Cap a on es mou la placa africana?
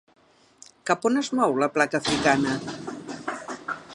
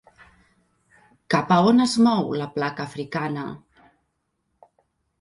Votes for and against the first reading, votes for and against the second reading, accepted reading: 1, 2, 4, 0, second